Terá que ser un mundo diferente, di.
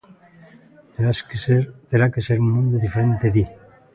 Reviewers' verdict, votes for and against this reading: rejected, 0, 2